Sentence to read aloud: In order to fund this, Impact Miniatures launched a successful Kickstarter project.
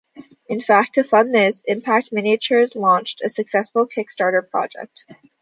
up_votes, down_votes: 0, 2